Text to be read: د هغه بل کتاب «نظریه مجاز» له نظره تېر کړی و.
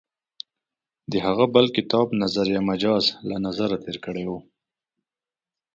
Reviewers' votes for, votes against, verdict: 3, 0, accepted